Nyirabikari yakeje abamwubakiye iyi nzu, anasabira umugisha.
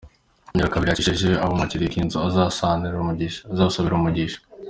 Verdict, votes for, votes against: rejected, 0, 2